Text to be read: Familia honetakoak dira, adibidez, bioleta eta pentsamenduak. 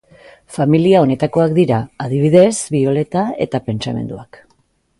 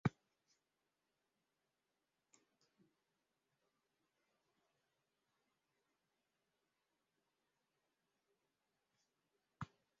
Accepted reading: first